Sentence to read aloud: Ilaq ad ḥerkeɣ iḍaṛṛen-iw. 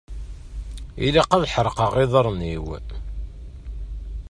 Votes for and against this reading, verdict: 1, 2, rejected